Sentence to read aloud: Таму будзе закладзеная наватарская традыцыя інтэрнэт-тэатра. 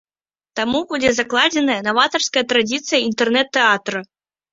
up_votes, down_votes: 0, 2